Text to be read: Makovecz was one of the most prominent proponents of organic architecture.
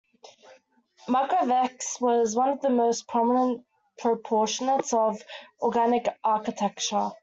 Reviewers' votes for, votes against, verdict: 1, 2, rejected